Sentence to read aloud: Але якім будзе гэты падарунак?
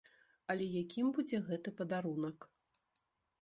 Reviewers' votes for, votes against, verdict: 0, 2, rejected